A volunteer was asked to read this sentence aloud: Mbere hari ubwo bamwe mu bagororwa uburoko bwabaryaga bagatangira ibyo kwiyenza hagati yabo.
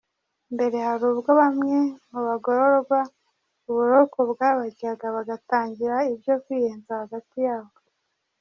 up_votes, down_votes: 1, 2